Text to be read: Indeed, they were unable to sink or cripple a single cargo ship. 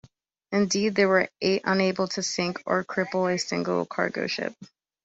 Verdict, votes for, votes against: rejected, 0, 2